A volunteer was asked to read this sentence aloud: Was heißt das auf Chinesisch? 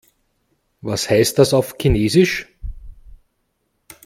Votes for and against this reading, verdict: 2, 0, accepted